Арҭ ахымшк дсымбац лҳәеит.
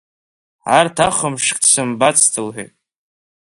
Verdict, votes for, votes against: accepted, 2, 1